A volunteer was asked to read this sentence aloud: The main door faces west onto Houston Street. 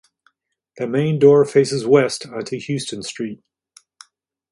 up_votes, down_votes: 2, 0